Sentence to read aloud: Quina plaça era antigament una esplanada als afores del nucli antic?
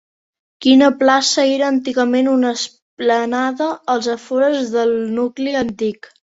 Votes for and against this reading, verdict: 2, 1, accepted